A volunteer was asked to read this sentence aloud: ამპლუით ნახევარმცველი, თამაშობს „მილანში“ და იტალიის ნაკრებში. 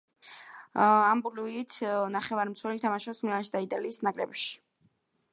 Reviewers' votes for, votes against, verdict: 2, 1, accepted